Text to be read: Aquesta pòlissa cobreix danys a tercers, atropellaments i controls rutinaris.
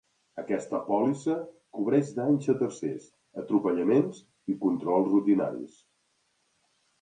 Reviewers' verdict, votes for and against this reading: accepted, 2, 0